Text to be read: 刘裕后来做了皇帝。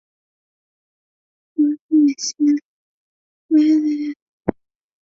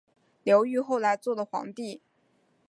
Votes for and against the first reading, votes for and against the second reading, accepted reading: 0, 4, 2, 0, second